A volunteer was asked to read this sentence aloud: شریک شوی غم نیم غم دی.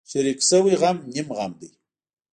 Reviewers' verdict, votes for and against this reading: rejected, 0, 2